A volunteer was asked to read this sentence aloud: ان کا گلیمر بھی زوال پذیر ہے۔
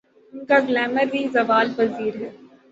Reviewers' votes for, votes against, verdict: 6, 3, accepted